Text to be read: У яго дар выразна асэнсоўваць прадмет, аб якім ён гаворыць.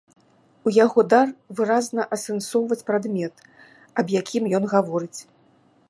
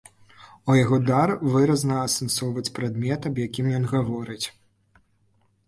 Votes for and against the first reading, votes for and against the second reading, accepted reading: 2, 0, 1, 3, first